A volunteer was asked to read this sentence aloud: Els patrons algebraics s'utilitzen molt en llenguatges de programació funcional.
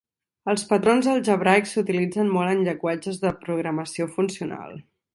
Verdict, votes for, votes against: accepted, 2, 0